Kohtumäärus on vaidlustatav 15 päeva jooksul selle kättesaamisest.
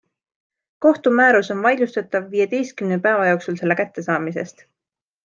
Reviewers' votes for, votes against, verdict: 0, 2, rejected